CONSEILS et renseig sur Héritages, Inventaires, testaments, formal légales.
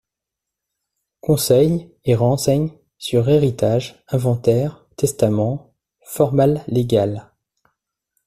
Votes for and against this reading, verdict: 2, 0, accepted